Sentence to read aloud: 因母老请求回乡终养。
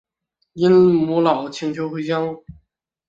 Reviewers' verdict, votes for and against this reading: rejected, 0, 2